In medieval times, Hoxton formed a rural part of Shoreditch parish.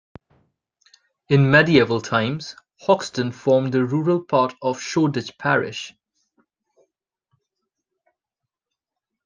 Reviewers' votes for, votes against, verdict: 2, 0, accepted